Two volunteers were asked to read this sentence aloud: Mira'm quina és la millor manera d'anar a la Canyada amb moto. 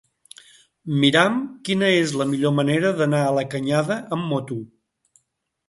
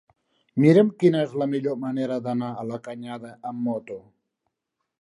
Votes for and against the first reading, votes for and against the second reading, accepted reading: 1, 2, 3, 0, second